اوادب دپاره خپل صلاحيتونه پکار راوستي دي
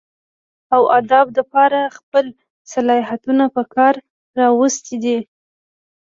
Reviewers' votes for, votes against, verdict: 2, 0, accepted